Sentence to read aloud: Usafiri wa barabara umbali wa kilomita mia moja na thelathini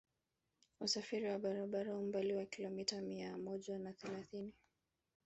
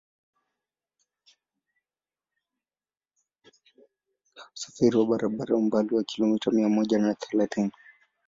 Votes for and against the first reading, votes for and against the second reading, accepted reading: 2, 1, 1, 2, first